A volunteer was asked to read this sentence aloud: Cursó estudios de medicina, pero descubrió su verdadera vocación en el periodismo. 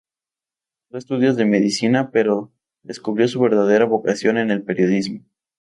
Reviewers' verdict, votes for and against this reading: rejected, 0, 2